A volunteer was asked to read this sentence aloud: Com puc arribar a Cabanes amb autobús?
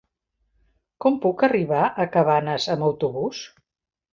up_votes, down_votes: 1, 2